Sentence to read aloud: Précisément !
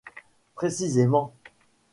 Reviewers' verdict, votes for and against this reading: accepted, 2, 0